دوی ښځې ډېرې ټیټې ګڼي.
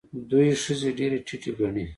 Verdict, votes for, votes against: accepted, 2, 0